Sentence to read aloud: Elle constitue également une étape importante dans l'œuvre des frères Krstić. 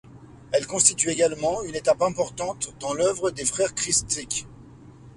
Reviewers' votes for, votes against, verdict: 0, 2, rejected